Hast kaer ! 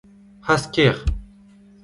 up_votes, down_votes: 2, 0